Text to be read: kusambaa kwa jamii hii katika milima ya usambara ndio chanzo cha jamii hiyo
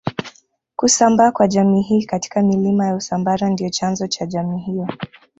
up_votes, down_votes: 0, 2